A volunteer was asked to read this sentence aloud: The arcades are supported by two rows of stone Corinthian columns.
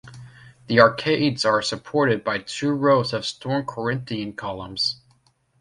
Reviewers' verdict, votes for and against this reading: accepted, 2, 0